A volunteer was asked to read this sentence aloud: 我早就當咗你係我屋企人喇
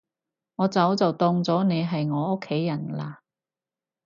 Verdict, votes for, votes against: accepted, 4, 0